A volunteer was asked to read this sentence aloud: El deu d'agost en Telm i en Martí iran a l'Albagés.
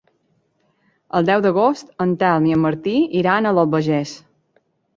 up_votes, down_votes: 3, 0